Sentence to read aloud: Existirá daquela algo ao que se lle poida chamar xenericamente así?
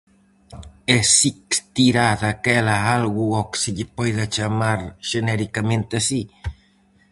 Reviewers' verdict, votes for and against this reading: rejected, 2, 2